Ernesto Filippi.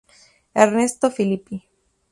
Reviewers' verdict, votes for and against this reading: accepted, 2, 0